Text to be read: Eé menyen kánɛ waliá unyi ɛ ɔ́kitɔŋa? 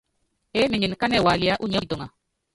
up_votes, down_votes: 1, 2